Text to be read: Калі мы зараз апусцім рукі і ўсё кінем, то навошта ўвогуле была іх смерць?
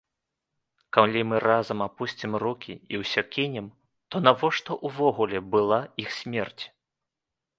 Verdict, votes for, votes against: rejected, 1, 2